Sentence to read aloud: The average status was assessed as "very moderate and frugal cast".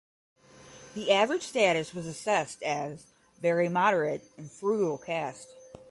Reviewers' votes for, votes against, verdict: 10, 0, accepted